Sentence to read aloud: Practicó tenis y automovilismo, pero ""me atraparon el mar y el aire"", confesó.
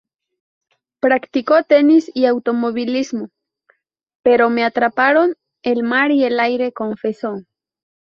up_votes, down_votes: 2, 0